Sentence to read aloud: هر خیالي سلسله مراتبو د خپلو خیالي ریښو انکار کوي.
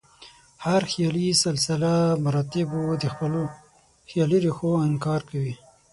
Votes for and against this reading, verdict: 3, 6, rejected